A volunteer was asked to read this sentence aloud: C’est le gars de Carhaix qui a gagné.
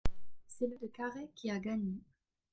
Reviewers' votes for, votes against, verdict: 0, 2, rejected